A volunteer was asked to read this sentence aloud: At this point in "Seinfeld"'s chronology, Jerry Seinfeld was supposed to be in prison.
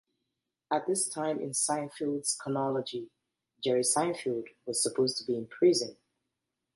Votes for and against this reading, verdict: 0, 2, rejected